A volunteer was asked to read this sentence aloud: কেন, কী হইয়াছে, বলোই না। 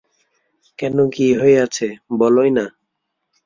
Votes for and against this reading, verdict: 2, 1, accepted